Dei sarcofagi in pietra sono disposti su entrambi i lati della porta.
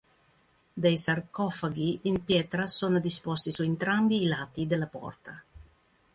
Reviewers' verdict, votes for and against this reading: rejected, 1, 2